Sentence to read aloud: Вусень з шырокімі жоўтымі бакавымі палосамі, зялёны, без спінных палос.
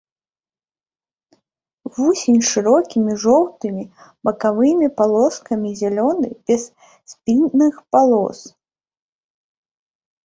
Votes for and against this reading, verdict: 2, 3, rejected